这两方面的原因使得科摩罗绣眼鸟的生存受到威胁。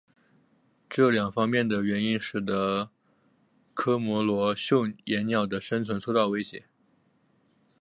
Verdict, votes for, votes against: accepted, 3, 0